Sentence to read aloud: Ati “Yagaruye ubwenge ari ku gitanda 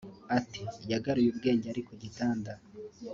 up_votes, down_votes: 3, 0